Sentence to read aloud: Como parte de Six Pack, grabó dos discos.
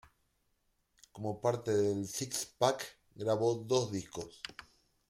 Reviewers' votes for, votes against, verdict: 2, 0, accepted